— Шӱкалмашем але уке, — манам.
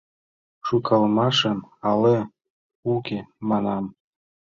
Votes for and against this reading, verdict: 0, 2, rejected